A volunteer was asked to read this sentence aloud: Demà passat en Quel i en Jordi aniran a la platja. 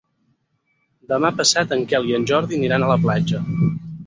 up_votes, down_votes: 0, 4